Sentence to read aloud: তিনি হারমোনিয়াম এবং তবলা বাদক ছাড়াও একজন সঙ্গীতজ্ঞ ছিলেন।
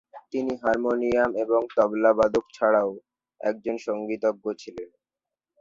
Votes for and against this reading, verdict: 0, 2, rejected